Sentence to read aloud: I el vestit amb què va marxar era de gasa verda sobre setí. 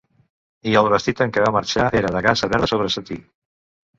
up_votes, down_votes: 1, 2